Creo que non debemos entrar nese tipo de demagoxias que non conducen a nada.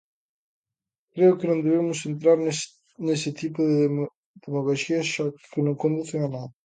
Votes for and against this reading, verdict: 0, 2, rejected